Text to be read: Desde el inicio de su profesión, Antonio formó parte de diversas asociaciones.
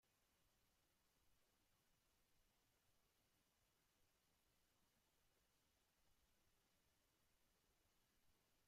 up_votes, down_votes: 0, 2